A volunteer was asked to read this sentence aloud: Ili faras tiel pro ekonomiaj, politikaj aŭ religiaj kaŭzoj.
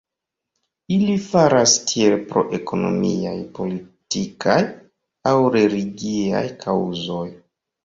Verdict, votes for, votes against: accepted, 2, 0